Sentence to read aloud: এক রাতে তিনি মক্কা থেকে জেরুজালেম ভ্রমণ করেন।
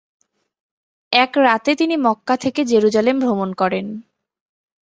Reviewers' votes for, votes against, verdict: 2, 0, accepted